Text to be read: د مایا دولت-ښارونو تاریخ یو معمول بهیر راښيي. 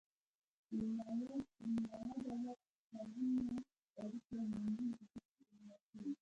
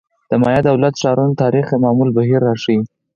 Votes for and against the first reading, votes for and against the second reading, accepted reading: 1, 2, 4, 2, second